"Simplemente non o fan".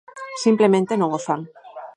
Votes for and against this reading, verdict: 2, 4, rejected